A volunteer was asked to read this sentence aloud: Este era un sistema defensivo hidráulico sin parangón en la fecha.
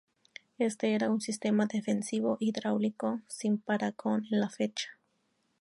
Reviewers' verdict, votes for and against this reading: rejected, 2, 2